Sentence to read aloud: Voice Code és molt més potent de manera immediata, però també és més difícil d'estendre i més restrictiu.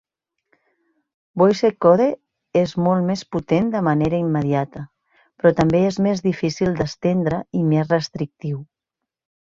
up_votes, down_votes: 2, 0